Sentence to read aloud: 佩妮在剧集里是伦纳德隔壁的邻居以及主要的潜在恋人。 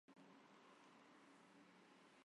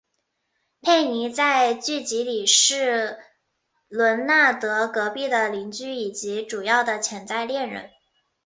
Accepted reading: second